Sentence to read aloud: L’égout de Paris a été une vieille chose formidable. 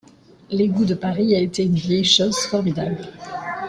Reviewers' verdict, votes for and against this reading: accepted, 2, 1